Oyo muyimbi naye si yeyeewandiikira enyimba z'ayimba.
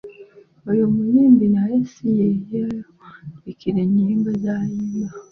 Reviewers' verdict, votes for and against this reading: accepted, 2, 1